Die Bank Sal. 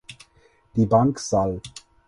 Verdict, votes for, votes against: accepted, 4, 0